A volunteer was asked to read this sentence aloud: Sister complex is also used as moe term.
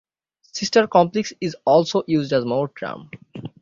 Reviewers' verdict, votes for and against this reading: accepted, 6, 0